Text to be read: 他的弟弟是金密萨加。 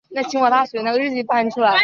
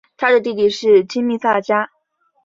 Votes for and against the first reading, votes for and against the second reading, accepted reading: 0, 2, 2, 0, second